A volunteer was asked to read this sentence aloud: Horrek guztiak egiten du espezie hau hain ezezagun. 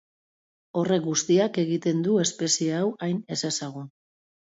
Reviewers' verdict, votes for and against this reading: rejected, 1, 2